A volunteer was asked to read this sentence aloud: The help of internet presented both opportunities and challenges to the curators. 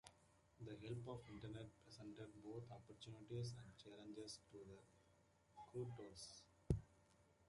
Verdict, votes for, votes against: rejected, 0, 2